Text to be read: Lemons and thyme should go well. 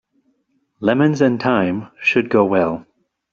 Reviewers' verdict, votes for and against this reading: accepted, 2, 0